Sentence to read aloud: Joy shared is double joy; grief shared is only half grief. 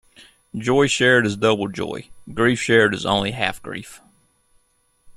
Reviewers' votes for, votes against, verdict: 2, 0, accepted